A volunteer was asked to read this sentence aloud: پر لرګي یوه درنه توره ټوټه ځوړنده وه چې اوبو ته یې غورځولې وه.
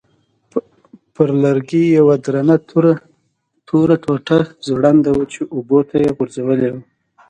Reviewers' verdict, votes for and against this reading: rejected, 0, 2